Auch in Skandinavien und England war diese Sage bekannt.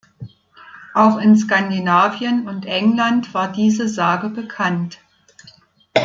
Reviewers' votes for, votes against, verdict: 2, 0, accepted